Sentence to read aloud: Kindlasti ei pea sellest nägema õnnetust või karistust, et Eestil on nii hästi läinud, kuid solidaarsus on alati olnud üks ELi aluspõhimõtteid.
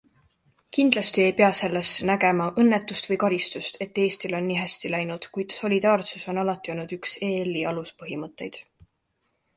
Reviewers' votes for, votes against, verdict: 2, 1, accepted